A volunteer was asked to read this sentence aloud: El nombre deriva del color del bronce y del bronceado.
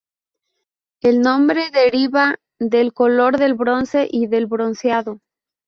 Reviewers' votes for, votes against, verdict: 4, 0, accepted